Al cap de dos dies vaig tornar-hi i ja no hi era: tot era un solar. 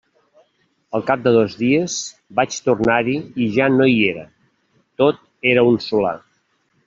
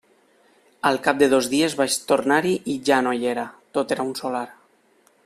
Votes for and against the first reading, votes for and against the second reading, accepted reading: 1, 2, 3, 0, second